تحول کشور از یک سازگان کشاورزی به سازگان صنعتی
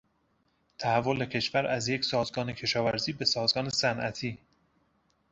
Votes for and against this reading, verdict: 2, 0, accepted